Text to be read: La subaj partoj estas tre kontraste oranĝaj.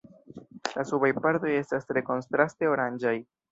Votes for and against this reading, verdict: 0, 3, rejected